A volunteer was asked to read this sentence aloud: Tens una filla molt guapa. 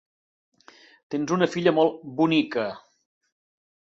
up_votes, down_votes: 1, 2